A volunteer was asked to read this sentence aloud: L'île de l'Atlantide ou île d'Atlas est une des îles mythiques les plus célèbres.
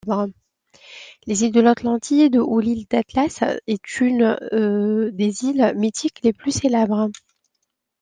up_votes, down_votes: 1, 2